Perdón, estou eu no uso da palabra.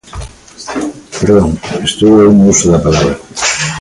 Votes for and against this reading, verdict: 1, 2, rejected